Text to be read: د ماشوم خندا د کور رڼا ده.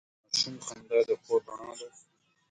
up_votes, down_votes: 1, 2